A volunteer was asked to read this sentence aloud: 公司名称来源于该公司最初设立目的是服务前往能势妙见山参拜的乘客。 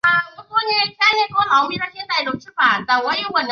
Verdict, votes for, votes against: rejected, 0, 3